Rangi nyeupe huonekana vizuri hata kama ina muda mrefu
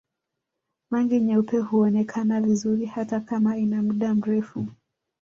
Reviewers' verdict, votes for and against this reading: accepted, 2, 0